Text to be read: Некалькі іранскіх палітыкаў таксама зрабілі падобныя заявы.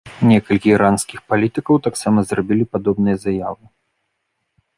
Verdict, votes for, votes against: accepted, 2, 0